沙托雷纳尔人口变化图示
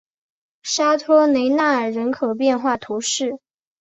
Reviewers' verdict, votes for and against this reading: accepted, 3, 1